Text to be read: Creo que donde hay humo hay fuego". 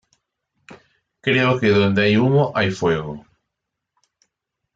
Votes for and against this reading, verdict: 2, 0, accepted